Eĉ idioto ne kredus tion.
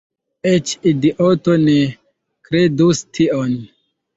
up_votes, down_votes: 2, 1